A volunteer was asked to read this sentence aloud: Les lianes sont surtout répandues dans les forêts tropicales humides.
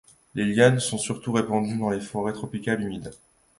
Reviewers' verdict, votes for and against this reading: accepted, 2, 0